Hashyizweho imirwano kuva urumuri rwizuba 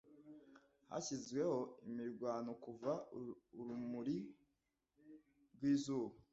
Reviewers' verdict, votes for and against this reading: rejected, 1, 2